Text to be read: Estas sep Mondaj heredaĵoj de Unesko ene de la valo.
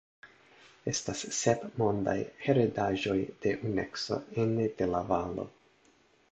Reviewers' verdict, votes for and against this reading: rejected, 0, 2